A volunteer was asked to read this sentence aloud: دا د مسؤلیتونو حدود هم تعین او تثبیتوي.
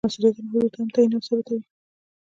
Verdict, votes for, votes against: accepted, 2, 1